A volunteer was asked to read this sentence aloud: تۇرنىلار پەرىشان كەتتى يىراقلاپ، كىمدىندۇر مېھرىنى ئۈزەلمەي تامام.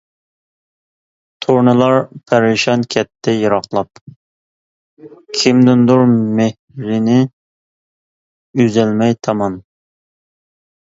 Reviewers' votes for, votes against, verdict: 2, 0, accepted